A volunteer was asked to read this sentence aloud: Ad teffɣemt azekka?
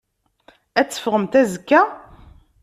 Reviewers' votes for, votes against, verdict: 2, 0, accepted